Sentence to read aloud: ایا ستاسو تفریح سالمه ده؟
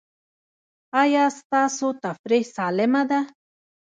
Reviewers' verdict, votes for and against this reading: rejected, 1, 2